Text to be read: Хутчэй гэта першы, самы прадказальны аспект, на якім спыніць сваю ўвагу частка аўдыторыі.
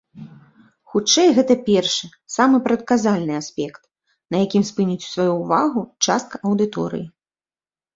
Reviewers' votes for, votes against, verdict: 2, 0, accepted